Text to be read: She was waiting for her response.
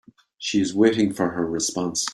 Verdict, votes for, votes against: accepted, 2, 0